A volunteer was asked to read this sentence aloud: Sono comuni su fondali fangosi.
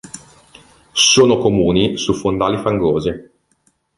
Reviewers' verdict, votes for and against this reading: accepted, 2, 1